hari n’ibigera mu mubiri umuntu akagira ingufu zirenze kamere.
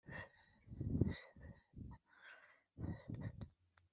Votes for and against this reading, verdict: 1, 2, rejected